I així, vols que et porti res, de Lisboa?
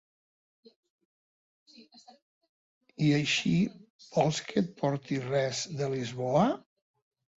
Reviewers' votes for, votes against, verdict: 3, 0, accepted